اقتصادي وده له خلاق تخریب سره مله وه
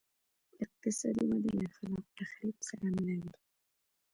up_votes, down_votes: 1, 2